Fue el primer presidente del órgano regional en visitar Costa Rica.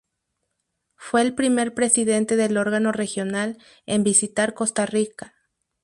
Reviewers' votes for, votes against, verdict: 4, 0, accepted